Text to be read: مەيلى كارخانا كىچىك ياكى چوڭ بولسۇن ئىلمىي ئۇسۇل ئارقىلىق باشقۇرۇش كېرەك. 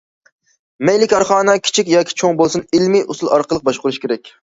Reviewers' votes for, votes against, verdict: 2, 0, accepted